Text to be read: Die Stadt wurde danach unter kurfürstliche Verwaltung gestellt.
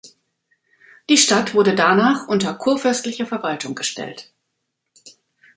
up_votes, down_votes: 2, 0